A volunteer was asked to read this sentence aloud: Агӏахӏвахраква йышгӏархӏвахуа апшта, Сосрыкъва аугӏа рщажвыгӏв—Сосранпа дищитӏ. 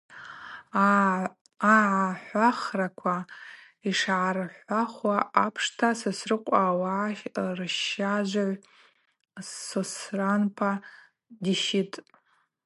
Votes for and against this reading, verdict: 0, 2, rejected